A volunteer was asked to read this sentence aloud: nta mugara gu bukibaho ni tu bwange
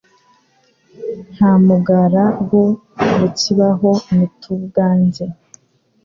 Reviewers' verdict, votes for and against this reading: accepted, 3, 0